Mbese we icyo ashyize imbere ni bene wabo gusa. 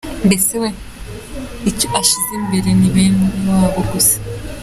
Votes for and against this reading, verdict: 2, 1, accepted